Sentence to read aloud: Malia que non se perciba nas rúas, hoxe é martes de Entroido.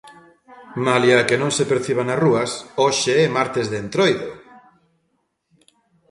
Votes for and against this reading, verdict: 0, 2, rejected